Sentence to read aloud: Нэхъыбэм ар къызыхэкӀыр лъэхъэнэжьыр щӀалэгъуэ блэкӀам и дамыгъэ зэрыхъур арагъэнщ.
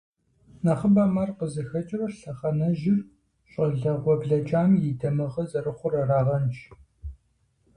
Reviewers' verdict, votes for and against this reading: accepted, 4, 0